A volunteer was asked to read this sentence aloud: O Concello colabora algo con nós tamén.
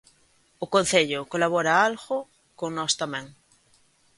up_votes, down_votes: 0, 2